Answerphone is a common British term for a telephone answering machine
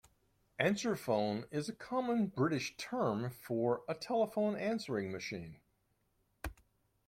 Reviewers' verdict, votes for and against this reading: accepted, 2, 0